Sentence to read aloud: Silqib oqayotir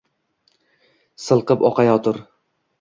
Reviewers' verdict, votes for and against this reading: accepted, 2, 0